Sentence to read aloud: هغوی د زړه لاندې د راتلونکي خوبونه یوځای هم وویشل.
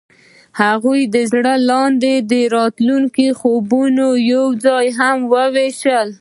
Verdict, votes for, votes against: rejected, 1, 2